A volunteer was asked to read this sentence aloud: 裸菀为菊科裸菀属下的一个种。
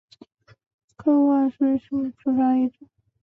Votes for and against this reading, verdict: 0, 2, rejected